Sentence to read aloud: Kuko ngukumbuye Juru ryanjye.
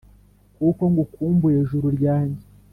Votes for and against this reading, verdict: 4, 0, accepted